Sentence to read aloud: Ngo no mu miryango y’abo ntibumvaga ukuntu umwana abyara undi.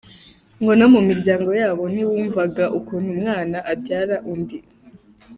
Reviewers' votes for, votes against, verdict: 1, 2, rejected